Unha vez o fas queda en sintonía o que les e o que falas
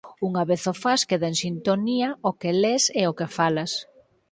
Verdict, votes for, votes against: accepted, 4, 0